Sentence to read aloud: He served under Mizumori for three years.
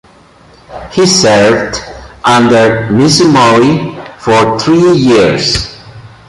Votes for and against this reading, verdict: 2, 0, accepted